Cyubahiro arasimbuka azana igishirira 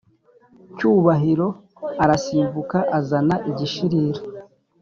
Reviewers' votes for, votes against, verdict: 2, 0, accepted